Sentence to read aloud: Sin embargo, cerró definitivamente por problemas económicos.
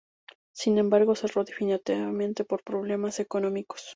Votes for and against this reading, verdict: 0, 2, rejected